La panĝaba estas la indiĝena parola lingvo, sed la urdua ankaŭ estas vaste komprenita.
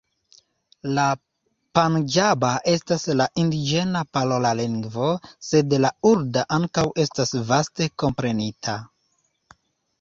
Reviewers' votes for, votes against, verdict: 2, 0, accepted